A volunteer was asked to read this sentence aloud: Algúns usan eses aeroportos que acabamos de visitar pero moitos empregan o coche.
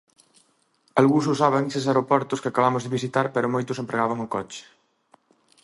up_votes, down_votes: 0, 2